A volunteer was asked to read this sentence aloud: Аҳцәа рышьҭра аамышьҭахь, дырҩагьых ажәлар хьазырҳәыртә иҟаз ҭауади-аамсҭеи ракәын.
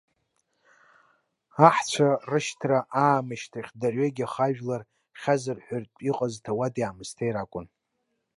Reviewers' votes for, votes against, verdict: 1, 2, rejected